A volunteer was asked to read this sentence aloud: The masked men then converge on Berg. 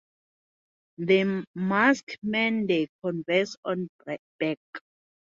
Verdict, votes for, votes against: rejected, 0, 2